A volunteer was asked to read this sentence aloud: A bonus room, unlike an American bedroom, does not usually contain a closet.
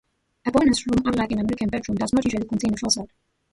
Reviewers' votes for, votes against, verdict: 1, 2, rejected